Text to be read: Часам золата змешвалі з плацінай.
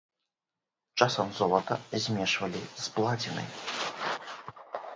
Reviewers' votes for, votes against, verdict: 1, 2, rejected